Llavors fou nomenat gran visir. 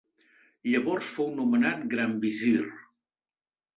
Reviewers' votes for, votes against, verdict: 2, 0, accepted